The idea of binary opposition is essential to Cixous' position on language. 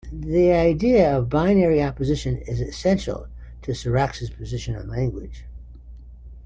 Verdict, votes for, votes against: rejected, 1, 2